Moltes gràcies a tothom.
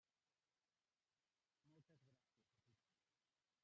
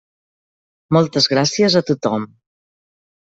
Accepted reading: second